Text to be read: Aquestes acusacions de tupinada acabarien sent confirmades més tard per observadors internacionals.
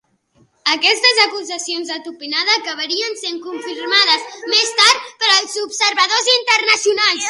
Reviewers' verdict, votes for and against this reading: rejected, 0, 2